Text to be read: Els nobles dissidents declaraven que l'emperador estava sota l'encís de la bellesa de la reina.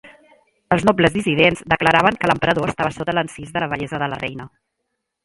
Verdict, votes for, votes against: accepted, 2, 1